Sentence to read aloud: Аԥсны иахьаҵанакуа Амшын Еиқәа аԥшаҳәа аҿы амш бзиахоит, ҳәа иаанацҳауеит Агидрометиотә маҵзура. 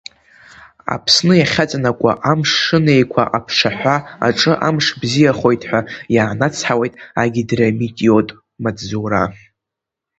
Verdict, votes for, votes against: rejected, 0, 2